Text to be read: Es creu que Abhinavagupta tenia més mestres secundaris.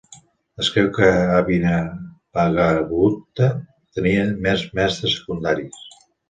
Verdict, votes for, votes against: rejected, 1, 2